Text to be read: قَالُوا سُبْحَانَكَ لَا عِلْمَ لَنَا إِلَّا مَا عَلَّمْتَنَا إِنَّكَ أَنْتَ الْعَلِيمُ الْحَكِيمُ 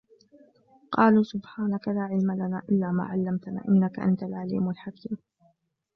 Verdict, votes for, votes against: rejected, 1, 2